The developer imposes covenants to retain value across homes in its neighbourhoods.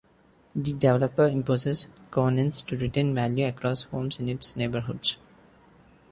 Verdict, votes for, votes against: rejected, 0, 2